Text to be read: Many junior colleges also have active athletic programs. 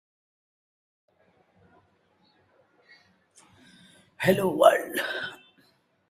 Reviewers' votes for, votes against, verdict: 0, 2, rejected